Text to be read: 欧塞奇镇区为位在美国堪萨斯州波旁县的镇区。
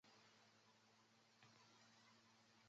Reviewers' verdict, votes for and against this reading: rejected, 0, 2